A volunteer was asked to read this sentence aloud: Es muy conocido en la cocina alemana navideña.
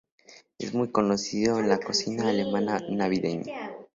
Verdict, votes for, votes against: rejected, 0, 2